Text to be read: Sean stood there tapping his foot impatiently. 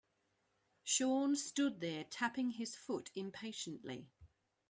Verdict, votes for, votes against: accepted, 2, 0